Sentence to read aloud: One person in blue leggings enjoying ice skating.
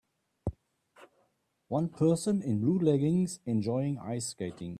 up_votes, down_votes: 2, 0